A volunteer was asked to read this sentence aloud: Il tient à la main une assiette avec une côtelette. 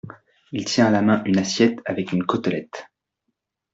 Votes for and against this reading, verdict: 2, 0, accepted